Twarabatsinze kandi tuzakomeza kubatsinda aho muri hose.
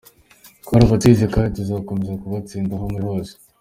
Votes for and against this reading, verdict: 2, 0, accepted